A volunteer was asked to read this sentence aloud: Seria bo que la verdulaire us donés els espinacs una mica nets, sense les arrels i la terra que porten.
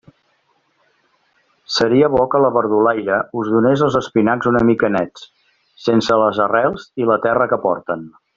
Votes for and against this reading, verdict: 2, 0, accepted